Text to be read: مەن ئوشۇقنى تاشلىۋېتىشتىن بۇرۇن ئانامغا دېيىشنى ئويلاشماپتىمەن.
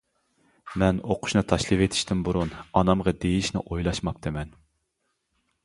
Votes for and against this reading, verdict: 0, 2, rejected